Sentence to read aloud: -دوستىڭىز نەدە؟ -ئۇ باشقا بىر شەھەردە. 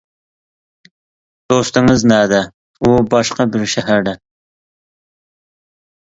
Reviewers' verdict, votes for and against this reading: accepted, 2, 0